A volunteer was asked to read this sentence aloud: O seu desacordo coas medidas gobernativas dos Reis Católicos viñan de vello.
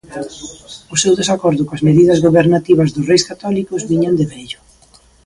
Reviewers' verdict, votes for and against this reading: rejected, 0, 2